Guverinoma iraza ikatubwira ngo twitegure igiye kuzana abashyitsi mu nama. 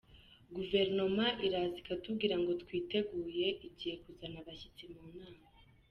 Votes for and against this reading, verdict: 2, 0, accepted